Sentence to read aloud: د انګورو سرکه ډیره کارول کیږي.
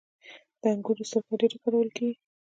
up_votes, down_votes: 1, 2